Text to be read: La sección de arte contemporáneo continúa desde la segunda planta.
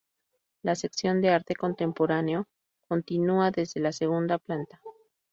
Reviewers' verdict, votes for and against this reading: rejected, 2, 2